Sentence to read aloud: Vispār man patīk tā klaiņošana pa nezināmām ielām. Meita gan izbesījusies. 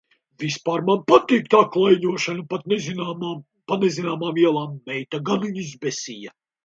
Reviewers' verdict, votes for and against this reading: rejected, 0, 2